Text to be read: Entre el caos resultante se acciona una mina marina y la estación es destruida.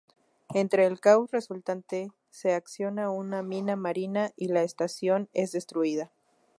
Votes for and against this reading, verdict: 0, 2, rejected